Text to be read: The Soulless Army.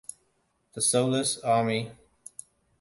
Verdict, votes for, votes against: accepted, 2, 1